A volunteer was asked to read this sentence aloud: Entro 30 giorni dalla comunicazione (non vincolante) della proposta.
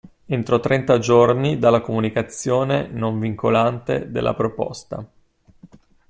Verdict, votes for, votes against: rejected, 0, 2